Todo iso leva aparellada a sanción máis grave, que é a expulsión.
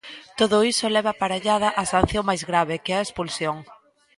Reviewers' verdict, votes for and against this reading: accepted, 2, 1